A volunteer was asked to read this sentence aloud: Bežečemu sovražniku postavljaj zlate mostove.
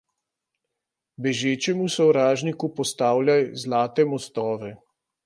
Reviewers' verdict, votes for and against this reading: accepted, 2, 0